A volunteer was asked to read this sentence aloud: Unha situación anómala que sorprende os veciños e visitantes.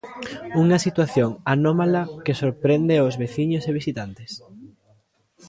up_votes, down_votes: 2, 0